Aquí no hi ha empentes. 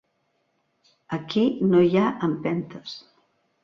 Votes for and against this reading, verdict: 2, 0, accepted